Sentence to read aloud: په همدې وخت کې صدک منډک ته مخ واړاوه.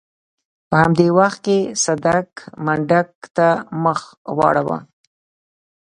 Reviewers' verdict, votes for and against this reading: accepted, 2, 0